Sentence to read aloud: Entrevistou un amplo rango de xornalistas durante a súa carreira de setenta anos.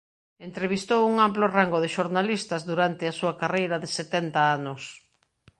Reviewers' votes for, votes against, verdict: 2, 0, accepted